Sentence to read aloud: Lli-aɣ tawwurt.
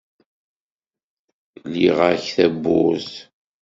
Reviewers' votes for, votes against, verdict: 1, 2, rejected